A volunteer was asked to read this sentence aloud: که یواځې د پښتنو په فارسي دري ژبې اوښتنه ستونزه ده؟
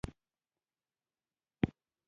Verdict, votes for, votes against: rejected, 0, 2